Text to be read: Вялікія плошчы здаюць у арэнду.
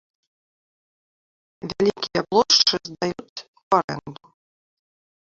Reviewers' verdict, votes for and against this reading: rejected, 0, 2